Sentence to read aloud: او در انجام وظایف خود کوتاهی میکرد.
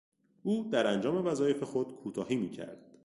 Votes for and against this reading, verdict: 2, 0, accepted